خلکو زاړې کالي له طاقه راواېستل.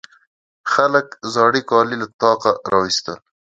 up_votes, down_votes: 0, 2